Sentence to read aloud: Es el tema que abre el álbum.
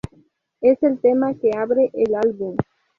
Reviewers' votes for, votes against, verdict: 2, 0, accepted